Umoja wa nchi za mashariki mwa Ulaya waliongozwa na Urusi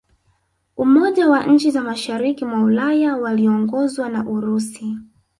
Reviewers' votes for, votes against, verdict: 2, 1, accepted